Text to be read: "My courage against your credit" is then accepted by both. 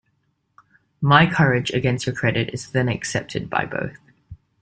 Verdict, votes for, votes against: accepted, 2, 0